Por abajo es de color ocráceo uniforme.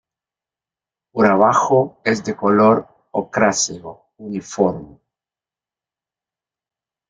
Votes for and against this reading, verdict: 2, 0, accepted